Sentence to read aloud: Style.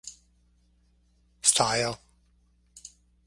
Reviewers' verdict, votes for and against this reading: accepted, 4, 0